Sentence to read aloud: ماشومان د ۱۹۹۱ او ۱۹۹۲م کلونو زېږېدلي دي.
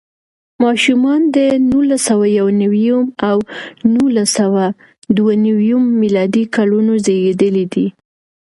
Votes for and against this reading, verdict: 0, 2, rejected